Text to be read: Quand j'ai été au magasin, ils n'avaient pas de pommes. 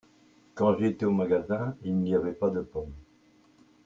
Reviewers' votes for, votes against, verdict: 0, 2, rejected